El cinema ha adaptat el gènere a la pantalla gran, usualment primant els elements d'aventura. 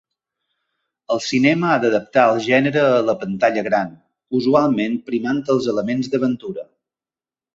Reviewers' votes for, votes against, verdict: 0, 2, rejected